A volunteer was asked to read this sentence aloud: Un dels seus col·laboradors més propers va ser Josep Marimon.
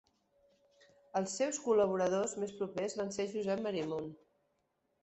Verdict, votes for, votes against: rejected, 0, 2